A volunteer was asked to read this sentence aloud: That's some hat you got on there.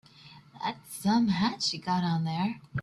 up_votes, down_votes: 2, 0